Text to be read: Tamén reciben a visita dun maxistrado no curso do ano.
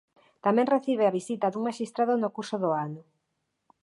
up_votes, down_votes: 1, 2